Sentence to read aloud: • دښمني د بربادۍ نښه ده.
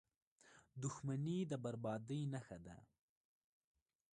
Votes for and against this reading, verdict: 1, 2, rejected